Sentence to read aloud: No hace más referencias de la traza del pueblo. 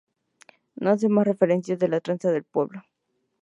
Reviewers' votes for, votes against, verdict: 2, 0, accepted